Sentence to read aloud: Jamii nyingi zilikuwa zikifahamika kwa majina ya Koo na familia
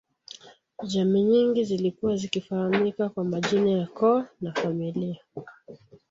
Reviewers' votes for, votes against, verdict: 1, 2, rejected